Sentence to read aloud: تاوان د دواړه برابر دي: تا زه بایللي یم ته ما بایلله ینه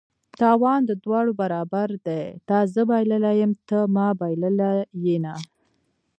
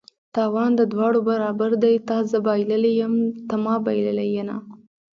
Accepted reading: first